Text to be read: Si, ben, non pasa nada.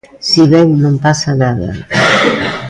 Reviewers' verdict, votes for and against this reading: accepted, 2, 0